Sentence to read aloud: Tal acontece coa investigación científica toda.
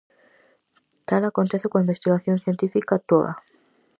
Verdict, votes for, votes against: accepted, 4, 0